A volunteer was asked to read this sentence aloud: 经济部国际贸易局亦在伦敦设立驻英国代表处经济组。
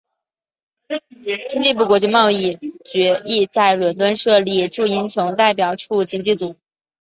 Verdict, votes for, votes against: accepted, 2, 0